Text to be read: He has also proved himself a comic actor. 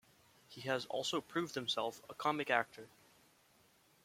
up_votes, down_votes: 2, 0